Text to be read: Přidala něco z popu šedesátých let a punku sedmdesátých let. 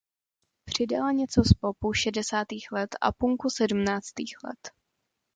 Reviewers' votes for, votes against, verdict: 0, 2, rejected